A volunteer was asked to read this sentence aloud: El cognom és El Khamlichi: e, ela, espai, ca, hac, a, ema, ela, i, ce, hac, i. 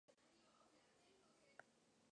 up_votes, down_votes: 0, 2